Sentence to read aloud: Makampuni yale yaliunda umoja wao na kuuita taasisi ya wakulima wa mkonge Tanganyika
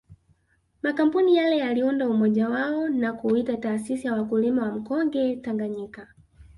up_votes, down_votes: 3, 1